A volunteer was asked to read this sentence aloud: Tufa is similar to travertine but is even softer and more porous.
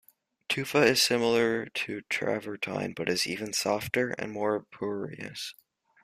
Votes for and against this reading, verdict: 1, 2, rejected